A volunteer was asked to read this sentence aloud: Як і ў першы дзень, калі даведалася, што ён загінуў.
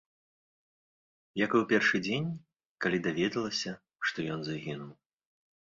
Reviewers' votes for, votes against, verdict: 2, 0, accepted